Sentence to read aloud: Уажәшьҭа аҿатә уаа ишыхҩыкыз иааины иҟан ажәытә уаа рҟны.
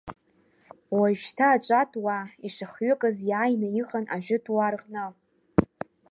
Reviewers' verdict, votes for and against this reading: rejected, 0, 2